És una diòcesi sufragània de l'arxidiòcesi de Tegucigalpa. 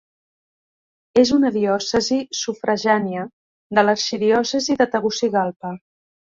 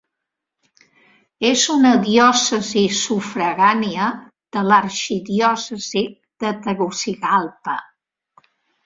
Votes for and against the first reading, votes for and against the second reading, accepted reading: 1, 2, 3, 0, second